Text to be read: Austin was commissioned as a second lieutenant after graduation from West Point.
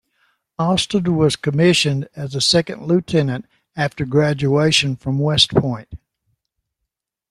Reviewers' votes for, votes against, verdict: 1, 2, rejected